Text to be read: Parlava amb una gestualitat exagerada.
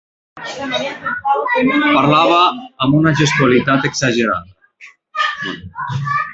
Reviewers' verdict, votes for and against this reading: rejected, 0, 2